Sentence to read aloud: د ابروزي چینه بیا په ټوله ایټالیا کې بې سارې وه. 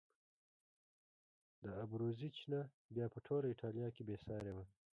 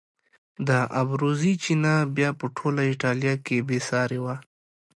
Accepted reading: second